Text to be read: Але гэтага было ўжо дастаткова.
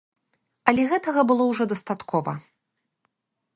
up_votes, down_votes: 3, 0